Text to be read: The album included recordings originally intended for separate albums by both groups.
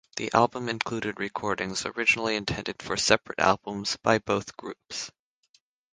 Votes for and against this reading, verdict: 6, 0, accepted